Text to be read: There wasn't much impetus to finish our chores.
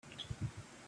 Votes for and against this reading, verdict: 0, 2, rejected